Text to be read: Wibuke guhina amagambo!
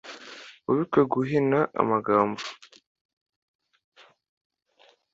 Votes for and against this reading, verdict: 2, 0, accepted